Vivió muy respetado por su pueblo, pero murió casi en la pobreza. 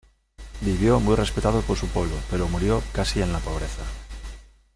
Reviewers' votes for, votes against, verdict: 2, 0, accepted